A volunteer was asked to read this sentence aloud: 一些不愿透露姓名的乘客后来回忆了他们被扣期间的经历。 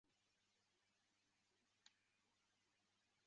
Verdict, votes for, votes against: rejected, 1, 2